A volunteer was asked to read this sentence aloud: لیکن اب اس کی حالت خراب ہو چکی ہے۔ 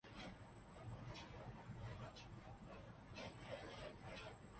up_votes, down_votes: 0, 2